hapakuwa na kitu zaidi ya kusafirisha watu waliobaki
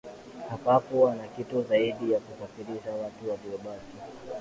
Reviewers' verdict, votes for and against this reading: accepted, 2, 0